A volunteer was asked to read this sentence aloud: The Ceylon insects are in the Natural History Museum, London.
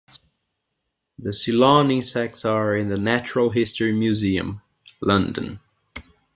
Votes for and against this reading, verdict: 2, 0, accepted